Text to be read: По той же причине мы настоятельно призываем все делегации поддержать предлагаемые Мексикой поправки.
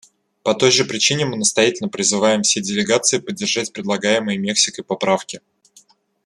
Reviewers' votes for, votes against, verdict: 2, 0, accepted